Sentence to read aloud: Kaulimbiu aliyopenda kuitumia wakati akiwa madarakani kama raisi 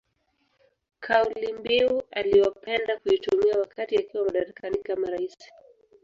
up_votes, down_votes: 1, 2